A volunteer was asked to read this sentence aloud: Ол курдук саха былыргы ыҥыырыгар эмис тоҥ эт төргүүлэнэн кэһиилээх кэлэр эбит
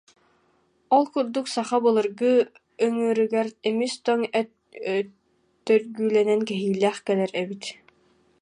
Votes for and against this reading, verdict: 0, 2, rejected